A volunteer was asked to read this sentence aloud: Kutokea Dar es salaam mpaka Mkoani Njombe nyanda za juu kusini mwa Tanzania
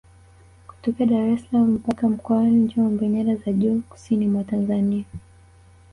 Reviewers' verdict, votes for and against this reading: rejected, 1, 2